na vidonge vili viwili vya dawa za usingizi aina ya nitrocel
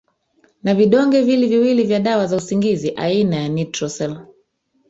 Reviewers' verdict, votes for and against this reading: rejected, 1, 2